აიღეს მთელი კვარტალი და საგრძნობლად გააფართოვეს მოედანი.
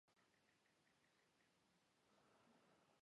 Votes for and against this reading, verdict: 2, 1, accepted